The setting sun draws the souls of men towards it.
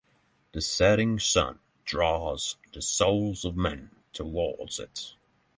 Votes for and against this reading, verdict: 3, 0, accepted